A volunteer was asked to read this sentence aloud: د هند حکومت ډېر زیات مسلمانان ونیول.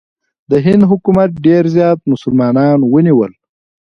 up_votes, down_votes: 2, 0